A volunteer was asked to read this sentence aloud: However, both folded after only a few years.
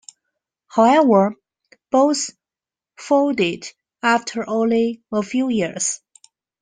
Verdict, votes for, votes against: accepted, 2, 0